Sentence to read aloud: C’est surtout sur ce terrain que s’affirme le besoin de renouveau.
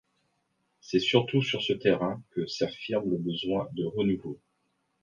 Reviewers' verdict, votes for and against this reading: accepted, 2, 0